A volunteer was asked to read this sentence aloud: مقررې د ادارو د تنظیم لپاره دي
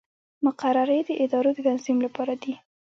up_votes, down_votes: 1, 2